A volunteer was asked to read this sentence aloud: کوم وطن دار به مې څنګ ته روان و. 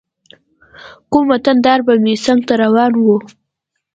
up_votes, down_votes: 2, 0